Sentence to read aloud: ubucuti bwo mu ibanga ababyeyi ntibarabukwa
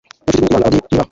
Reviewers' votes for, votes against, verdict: 0, 2, rejected